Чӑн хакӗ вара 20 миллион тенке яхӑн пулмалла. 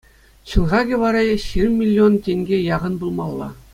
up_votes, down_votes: 0, 2